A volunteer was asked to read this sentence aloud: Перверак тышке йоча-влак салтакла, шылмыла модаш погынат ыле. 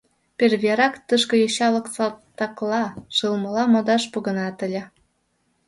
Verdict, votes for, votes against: rejected, 0, 2